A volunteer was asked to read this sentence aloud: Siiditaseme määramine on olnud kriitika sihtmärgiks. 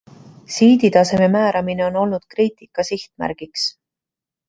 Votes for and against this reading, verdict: 2, 0, accepted